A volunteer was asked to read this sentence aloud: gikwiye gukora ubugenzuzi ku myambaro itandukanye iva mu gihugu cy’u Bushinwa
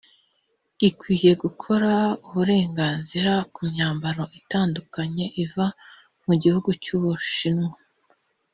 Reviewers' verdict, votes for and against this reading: rejected, 1, 2